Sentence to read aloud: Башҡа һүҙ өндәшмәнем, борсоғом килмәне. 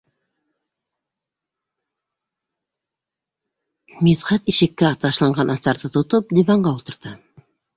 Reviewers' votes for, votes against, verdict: 0, 3, rejected